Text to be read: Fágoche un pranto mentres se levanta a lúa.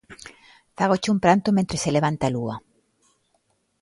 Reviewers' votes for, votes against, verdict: 2, 0, accepted